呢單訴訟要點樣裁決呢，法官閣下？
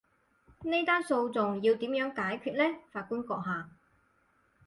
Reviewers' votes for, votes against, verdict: 2, 4, rejected